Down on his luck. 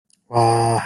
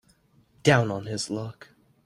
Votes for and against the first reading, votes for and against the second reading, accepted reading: 1, 2, 2, 0, second